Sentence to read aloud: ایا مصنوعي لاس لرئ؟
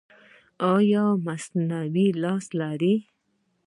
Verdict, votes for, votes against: rejected, 0, 2